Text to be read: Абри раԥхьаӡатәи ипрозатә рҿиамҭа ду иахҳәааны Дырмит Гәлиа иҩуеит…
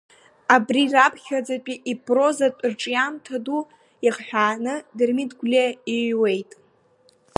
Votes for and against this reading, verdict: 2, 0, accepted